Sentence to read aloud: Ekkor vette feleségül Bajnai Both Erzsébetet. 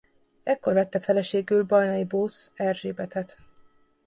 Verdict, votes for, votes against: rejected, 0, 2